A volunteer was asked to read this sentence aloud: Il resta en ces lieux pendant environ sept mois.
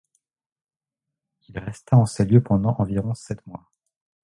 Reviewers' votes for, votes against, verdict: 2, 0, accepted